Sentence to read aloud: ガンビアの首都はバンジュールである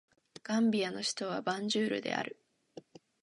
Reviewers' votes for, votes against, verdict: 3, 1, accepted